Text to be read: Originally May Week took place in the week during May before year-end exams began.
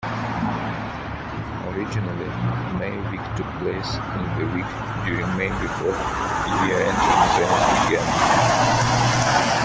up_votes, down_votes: 2, 0